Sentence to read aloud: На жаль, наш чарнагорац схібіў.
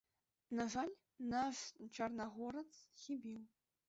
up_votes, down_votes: 1, 2